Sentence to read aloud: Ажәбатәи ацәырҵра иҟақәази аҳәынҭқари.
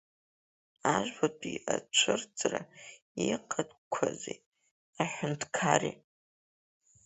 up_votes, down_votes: 3, 1